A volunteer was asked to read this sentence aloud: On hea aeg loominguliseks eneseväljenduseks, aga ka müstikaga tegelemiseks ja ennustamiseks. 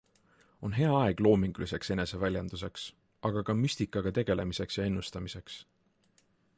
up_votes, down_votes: 2, 0